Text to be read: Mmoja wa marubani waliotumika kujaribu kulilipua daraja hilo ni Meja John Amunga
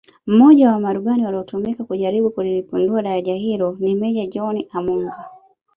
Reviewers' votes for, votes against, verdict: 2, 0, accepted